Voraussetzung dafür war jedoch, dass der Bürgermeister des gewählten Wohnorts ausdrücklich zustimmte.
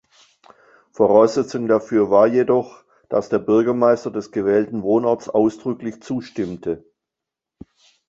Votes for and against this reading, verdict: 2, 0, accepted